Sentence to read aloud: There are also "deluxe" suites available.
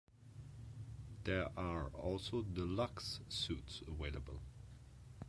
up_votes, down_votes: 0, 2